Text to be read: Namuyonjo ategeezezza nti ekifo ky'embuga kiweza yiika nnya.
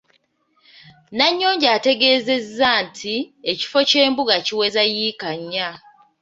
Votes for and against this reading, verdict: 1, 2, rejected